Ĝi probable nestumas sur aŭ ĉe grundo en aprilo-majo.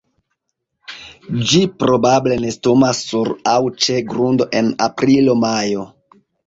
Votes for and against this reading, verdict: 0, 2, rejected